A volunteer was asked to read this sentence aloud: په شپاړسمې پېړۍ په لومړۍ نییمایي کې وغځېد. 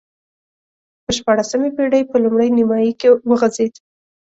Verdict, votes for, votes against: accepted, 2, 0